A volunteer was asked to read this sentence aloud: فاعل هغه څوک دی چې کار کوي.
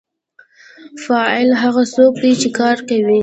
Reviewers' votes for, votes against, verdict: 2, 0, accepted